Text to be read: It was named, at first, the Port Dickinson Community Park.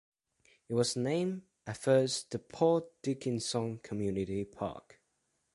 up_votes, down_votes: 2, 0